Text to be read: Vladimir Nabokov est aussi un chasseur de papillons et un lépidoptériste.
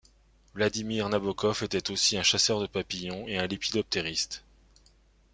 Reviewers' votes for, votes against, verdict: 2, 1, accepted